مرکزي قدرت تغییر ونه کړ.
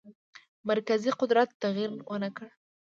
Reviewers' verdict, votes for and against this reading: accepted, 2, 0